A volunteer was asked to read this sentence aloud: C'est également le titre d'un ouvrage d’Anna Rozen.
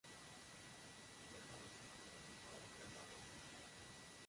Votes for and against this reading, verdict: 0, 2, rejected